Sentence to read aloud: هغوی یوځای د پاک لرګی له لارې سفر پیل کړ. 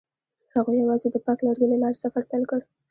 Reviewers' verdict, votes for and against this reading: accepted, 2, 0